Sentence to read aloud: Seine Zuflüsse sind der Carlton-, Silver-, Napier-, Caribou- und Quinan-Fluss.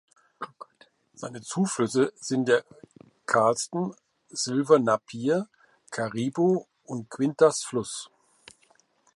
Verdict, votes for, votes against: rejected, 0, 2